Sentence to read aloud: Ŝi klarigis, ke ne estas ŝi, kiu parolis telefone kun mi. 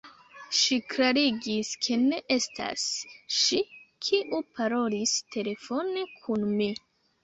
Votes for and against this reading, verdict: 2, 1, accepted